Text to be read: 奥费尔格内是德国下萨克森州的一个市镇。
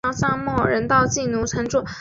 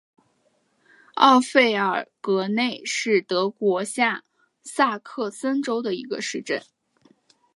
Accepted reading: second